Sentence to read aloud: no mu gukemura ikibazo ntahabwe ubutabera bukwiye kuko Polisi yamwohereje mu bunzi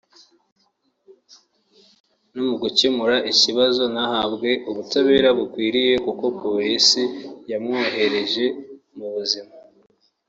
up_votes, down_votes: 0, 2